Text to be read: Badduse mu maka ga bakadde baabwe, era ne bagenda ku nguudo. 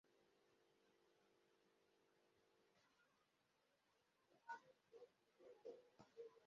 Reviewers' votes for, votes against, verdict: 1, 2, rejected